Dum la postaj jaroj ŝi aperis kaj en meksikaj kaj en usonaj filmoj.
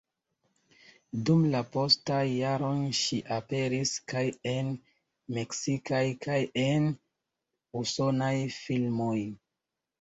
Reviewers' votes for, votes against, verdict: 2, 0, accepted